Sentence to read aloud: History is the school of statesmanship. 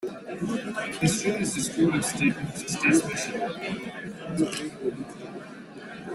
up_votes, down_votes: 0, 2